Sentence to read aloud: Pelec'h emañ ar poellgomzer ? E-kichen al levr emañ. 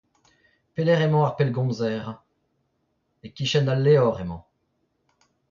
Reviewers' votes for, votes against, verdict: 0, 2, rejected